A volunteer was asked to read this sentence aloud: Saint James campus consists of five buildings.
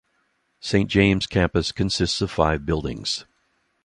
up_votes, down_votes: 2, 0